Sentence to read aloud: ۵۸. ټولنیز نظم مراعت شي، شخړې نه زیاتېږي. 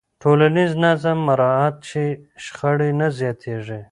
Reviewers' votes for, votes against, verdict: 0, 2, rejected